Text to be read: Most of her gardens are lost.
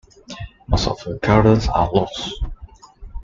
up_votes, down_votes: 2, 0